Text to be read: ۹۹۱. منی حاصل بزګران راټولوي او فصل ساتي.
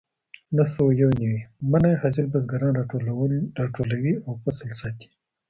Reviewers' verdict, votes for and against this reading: rejected, 0, 2